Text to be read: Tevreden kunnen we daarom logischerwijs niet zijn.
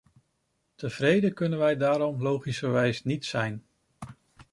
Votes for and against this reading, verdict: 2, 0, accepted